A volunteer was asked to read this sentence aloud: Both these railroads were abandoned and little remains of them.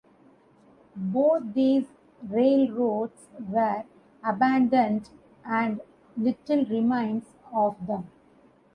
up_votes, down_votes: 2, 0